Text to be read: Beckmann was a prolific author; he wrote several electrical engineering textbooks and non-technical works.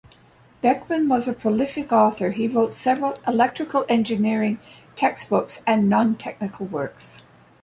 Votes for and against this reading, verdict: 2, 0, accepted